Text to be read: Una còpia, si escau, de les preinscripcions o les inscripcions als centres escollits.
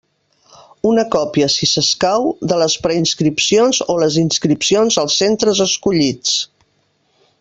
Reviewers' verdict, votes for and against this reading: rejected, 0, 2